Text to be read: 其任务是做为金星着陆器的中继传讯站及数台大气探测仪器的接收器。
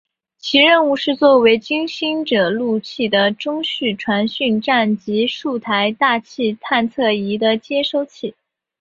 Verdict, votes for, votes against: accepted, 4, 0